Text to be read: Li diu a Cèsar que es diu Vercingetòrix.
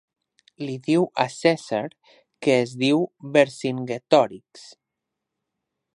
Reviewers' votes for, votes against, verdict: 1, 2, rejected